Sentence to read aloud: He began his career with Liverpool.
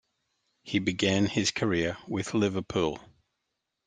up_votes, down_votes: 2, 0